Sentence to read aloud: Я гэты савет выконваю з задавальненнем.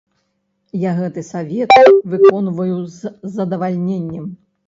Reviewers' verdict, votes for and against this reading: rejected, 0, 3